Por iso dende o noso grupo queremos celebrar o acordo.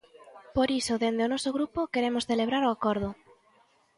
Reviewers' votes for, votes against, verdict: 2, 0, accepted